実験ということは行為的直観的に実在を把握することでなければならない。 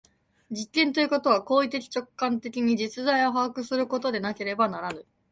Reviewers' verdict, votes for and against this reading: rejected, 0, 2